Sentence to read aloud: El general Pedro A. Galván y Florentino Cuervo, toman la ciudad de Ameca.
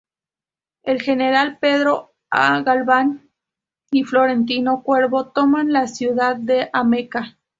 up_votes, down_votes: 2, 0